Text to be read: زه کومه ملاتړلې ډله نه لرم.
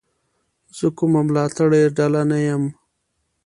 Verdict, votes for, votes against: rejected, 1, 2